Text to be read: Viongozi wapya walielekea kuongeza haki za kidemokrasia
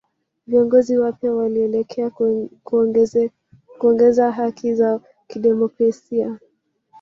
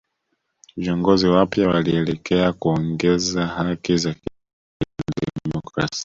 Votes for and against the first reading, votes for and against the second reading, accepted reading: 2, 1, 0, 2, first